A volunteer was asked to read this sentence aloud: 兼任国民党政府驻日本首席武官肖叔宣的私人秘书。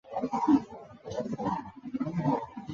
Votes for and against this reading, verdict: 0, 4, rejected